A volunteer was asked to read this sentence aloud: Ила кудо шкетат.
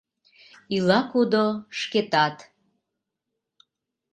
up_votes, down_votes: 2, 0